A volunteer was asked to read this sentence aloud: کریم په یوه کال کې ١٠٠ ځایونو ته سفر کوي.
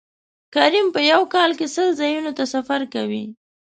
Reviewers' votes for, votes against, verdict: 0, 2, rejected